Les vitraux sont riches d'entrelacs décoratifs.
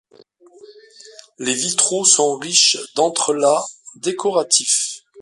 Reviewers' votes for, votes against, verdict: 2, 1, accepted